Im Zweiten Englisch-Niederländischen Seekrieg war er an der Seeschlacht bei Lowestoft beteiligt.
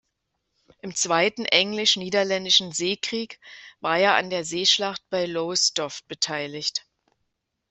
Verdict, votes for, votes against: accepted, 2, 0